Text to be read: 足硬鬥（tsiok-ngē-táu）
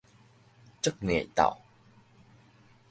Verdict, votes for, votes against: rejected, 1, 2